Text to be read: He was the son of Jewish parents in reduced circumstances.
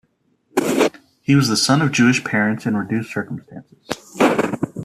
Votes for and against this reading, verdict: 0, 2, rejected